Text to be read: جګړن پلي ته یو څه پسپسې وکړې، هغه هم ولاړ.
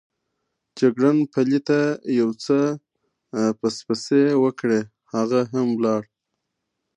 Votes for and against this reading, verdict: 2, 1, accepted